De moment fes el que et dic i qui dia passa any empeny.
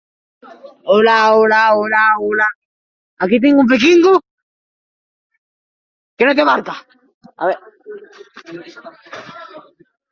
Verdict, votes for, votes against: rejected, 0, 3